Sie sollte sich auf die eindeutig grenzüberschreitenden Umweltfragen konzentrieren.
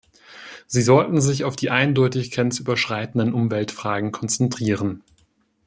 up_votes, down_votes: 0, 2